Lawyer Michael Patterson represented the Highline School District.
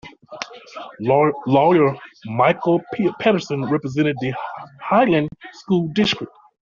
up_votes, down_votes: 1, 2